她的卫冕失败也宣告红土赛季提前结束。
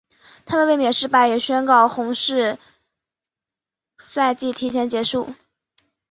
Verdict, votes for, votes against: rejected, 0, 2